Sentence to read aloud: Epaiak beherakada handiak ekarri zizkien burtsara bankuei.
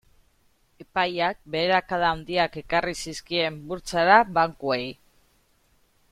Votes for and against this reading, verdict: 2, 0, accepted